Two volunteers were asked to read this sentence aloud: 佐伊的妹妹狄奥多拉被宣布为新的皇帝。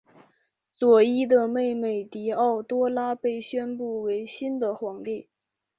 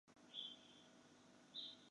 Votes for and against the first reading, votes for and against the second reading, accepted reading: 4, 0, 1, 5, first